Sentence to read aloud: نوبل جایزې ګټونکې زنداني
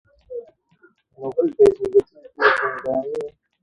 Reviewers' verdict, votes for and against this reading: rejected, 1, 2